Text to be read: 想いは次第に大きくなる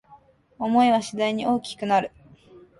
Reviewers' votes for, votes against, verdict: 2, 0, accepted